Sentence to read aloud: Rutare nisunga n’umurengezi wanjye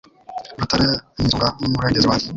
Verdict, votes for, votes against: rejected, 1, 3